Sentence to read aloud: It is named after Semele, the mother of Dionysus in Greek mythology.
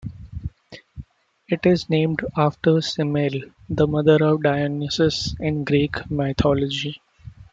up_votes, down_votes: 1, 2